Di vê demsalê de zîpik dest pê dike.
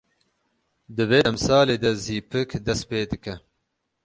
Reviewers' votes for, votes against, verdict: 0, 6, rejected